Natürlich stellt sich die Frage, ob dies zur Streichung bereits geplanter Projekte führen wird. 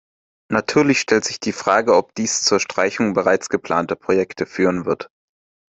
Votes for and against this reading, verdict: 2, 0, accepted